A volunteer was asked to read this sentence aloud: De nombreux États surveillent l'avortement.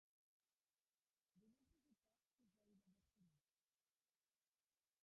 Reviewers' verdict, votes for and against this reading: rejected, 0, 2